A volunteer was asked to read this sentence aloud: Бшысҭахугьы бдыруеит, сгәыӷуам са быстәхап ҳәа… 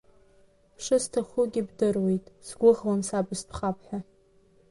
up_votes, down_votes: 2, 0